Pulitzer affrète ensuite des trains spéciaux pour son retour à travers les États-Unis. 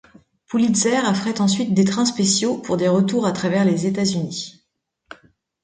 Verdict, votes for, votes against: rejected, 0, 2